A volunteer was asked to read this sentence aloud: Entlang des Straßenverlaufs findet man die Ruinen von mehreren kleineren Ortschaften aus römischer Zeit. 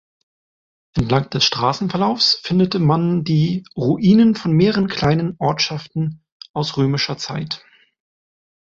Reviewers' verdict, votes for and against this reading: rejected, 0, 2